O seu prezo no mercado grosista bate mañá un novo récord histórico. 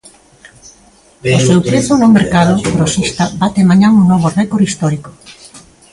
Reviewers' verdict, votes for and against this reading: rejected, 1, 2